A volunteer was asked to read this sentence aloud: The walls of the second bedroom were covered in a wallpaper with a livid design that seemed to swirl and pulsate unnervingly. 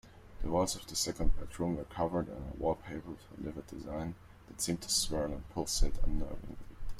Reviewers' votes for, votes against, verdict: 2, 0, accepted